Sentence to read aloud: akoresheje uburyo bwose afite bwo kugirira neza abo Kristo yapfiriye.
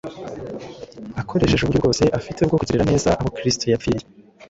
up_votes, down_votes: 1, 2